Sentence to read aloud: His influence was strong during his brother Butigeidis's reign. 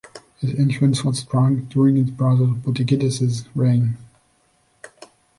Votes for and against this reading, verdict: 1, 2, rejected